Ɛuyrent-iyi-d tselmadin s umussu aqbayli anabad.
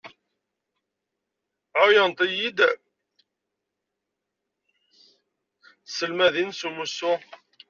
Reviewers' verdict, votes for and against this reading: rejected, 0, 2